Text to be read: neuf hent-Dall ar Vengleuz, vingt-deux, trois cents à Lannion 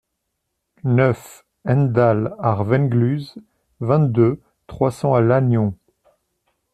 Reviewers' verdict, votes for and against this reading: accepted, 2, 1